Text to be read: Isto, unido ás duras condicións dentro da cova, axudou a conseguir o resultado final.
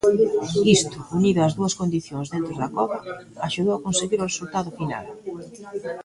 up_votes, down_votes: 0, 2